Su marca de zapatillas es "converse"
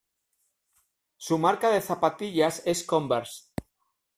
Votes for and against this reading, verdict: 2, 0, accepted